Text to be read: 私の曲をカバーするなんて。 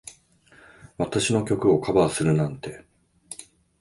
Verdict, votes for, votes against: accepted, 2, 0